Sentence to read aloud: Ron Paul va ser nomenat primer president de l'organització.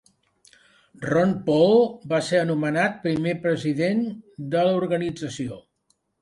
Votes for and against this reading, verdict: 2, 1, accepted